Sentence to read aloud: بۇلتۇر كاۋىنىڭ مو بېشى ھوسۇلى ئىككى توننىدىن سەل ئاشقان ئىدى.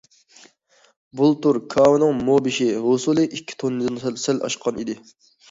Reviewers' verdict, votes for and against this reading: accepted, 2, 0